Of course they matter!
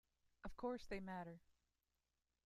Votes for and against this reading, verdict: 2, 1, accepted